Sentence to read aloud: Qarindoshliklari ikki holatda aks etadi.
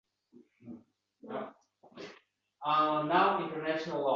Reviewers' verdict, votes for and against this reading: rejected, 0, 2